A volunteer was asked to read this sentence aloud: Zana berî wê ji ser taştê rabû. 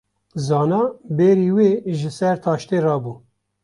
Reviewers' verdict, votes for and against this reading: accepted, 2, 1